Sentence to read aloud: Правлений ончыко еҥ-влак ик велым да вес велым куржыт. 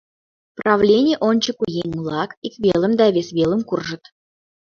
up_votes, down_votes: 2, 0